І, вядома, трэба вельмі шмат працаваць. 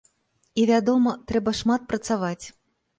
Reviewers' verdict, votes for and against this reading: rejected, 0, 2